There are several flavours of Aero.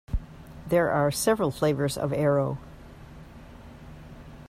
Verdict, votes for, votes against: accepted, 2, 0